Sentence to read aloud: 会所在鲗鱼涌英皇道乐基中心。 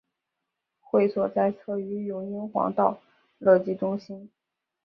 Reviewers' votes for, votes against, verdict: 2, 0, accepted